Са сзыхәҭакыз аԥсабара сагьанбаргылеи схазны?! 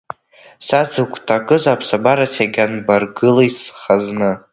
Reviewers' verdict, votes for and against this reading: rejected, 0, 2